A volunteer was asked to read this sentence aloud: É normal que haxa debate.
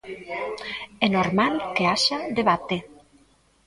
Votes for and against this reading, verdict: 2, 0, accepted